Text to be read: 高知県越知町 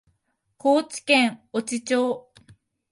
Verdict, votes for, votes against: accepted, 2, 0